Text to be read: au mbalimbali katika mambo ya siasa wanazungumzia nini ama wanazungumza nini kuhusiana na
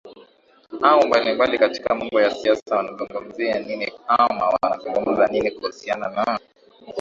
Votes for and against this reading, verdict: 2, 0, accepted